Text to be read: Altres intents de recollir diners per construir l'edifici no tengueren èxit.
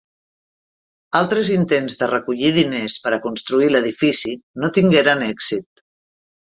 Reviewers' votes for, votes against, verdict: 1, 3, rejected